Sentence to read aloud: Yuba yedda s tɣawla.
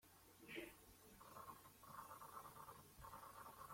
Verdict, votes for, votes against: rejected, 1, 2